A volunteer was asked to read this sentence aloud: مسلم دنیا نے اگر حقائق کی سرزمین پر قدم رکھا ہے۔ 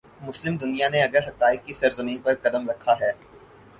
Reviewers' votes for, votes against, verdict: 4, 0, accepted